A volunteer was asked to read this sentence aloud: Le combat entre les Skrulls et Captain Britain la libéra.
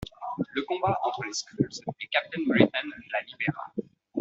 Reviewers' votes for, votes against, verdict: 1, 2, rejected